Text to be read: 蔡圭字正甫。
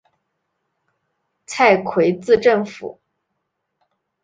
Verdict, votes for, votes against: accepted, 2, 1